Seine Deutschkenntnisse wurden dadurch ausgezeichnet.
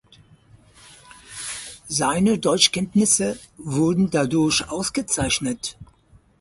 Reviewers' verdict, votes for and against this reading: accepted, 4, 2